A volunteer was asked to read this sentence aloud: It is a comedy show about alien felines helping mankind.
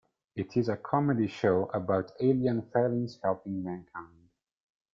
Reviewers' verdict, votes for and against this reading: rejected, 1, 2